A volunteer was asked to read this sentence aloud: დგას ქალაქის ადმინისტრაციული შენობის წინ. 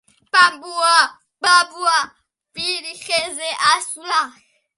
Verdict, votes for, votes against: rejected, 0, 2